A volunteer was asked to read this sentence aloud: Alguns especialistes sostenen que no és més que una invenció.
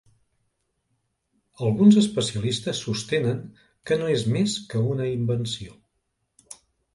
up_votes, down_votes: 2, 0